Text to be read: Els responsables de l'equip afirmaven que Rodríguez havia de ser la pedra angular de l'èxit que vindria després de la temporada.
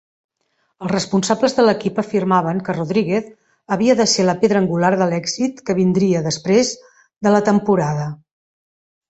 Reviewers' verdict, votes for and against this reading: accepted, 3, 0